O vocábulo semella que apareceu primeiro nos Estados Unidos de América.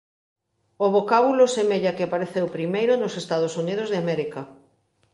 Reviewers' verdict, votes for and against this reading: accepted, 3, 0